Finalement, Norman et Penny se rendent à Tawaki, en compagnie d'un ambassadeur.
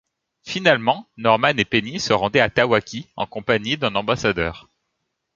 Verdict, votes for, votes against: rejected, 1, 2